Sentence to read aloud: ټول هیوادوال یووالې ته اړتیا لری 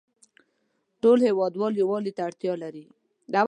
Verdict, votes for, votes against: accepted, 2, 0